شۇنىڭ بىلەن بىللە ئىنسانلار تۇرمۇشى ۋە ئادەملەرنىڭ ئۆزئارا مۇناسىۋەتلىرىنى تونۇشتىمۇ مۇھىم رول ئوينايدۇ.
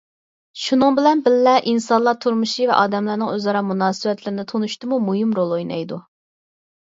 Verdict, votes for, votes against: accepted, 4, 0